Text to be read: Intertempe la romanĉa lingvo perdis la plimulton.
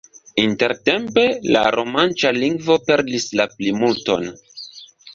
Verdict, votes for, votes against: accepted, 2, 0